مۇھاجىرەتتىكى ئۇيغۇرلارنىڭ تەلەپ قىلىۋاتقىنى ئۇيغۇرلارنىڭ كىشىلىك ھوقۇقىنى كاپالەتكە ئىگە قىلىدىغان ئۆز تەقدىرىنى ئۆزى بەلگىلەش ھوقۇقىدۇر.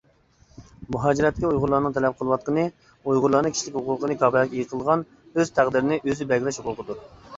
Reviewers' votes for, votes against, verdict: 0, 2, rejected